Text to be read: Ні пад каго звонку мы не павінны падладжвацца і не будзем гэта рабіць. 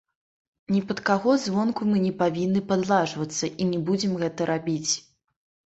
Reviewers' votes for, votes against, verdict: 1, 2, rejected